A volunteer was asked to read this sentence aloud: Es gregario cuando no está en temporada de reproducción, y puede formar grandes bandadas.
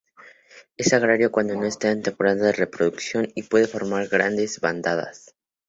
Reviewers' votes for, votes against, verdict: 0, 2, rejected